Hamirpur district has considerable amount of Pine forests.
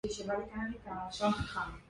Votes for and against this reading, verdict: 0, 2, rejected